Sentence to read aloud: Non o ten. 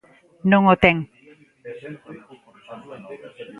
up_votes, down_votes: 0, 2